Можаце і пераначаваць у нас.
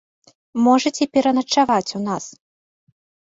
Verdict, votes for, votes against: rejected, 1, 2